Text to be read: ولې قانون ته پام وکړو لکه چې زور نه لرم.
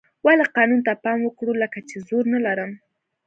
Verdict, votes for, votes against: accepted, 2, 0